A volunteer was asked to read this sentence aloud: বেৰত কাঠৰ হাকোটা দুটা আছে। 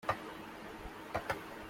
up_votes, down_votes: 0, 2